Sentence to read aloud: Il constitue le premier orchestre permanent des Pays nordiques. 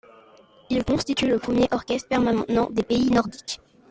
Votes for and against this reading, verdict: 1, 2, rejected